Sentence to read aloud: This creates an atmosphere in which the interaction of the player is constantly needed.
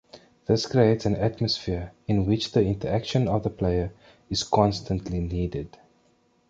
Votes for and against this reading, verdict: 2, 1, accepted